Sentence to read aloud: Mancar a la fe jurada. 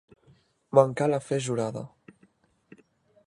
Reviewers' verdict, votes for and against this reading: rejected, 1, 2